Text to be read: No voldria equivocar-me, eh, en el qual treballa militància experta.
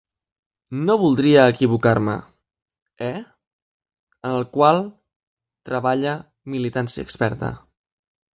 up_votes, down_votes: 2, 0